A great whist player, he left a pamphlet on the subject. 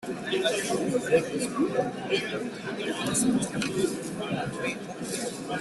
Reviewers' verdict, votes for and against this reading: rejected, 0, 2